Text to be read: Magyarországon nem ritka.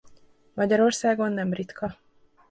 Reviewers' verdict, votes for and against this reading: accepted, 2, 0